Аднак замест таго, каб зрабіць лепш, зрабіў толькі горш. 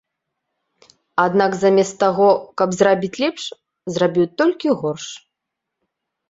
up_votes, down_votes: 2, 0